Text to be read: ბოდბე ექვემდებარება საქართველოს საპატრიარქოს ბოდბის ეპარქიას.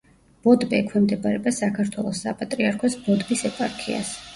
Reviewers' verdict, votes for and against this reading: rejected, 1, 2